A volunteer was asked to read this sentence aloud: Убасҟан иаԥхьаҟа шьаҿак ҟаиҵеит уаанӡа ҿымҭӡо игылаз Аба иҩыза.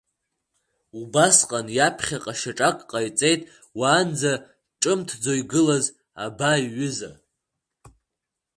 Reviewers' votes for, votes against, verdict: 2, 1, accepted